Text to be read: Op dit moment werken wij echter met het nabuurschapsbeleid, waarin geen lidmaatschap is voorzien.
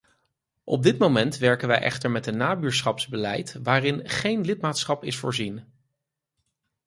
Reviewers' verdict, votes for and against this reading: rejected, 2, 4